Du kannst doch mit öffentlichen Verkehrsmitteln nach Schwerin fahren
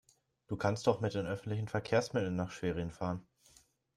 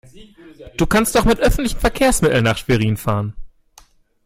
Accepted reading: second